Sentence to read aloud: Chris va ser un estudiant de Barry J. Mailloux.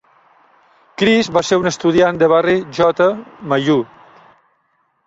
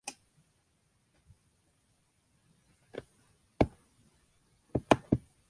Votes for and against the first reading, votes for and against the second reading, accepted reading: 2, 0, 0, 2, first